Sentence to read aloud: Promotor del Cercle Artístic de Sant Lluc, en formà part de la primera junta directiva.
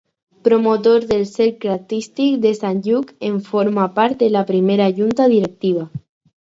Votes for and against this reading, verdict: 2, 4, rejected